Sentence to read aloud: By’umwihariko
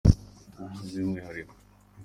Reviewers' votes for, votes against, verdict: 3, 1, accepted